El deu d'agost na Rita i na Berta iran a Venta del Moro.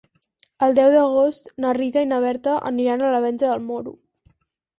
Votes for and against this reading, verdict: 2, 4, rejected